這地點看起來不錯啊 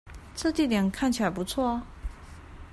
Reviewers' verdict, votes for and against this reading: accepted, 2, 0